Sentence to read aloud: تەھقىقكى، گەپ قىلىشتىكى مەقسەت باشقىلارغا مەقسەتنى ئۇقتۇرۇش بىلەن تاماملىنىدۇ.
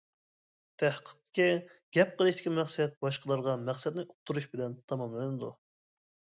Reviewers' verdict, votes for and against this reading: accepted, 2, 0